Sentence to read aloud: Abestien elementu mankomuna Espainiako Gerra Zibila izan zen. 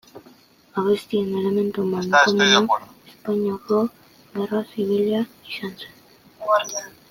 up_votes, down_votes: 0, 2